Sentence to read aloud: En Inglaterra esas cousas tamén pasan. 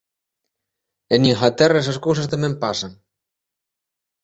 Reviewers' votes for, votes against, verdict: 0, 2, rejected